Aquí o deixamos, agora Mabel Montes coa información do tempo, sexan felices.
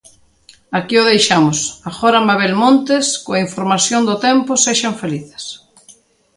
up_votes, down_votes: 2, 0